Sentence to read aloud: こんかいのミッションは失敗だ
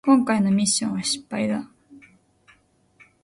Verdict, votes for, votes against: accepted, 2, 0